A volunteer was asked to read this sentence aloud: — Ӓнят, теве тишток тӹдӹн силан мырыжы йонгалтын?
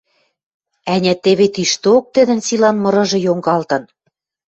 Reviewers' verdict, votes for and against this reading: accepted, 2, 0